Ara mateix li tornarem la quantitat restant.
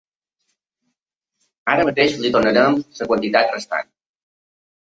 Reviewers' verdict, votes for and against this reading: rejected, 0, 2